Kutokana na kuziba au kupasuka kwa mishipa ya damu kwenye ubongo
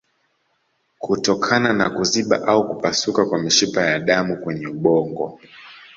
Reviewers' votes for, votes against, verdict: 1, 2, rejected